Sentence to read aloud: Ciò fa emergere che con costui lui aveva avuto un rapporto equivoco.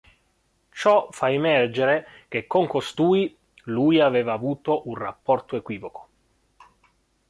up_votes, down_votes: 2, 0